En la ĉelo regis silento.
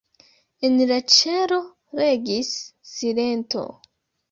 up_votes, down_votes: 1, 2